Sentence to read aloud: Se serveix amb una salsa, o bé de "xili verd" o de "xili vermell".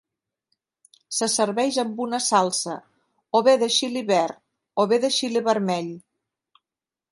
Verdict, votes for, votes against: rejected, 1, 2